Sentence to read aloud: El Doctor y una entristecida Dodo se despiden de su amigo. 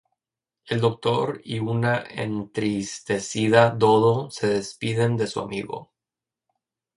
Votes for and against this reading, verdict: 0, 2, rejected